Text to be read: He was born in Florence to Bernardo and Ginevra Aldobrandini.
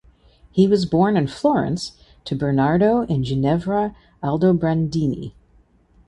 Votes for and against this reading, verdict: 2, 0, accepted